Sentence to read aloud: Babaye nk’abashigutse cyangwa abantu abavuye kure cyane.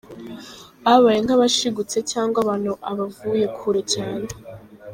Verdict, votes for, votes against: rejected, 1, 2